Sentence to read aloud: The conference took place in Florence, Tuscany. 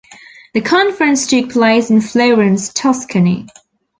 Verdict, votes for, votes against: rejected, 0, 2